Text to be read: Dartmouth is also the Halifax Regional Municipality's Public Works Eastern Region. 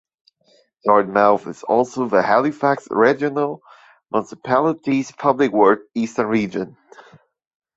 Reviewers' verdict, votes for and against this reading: accepted, 2, 1